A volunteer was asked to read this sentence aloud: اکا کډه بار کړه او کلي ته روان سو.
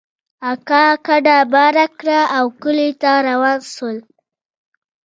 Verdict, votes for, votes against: rejected, 0, 2